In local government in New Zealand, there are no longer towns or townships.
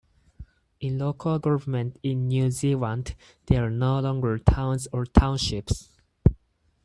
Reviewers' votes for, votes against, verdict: 4, 2, accepted